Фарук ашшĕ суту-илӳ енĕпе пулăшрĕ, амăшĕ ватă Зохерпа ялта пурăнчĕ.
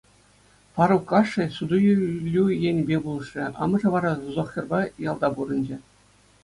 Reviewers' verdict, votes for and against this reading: accepted, 2, 1